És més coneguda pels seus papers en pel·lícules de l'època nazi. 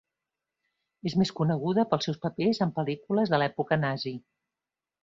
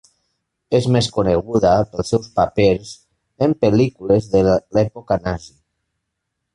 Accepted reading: first